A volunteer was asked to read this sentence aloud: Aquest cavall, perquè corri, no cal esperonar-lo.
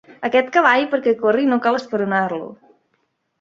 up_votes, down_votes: 3, 0